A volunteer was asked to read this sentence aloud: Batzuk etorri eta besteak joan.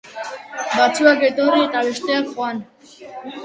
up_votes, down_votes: 2, 0